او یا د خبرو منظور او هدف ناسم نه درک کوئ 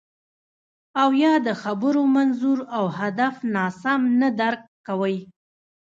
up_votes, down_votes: 1, 2